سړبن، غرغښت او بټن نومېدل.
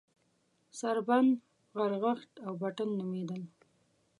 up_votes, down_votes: 1, 2